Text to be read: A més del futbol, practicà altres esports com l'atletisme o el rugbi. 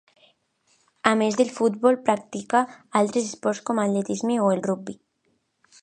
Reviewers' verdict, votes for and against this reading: accepted, 2, 1